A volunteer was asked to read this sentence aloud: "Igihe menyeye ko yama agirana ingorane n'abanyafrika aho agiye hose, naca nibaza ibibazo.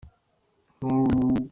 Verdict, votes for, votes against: rejected, 0, 2